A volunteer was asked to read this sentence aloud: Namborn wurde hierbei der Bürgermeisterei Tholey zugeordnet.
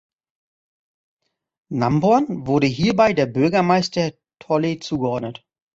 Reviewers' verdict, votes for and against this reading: rejected, 0, 2